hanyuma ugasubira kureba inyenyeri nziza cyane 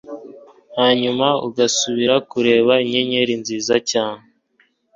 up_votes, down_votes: 2, 0